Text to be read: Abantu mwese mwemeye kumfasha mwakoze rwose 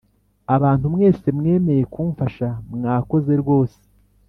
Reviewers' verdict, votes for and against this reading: accepted, 3, 0